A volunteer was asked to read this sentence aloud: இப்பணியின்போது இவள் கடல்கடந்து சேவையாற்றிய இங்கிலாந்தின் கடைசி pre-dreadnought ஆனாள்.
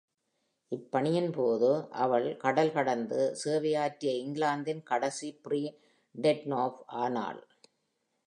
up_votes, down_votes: 0, 2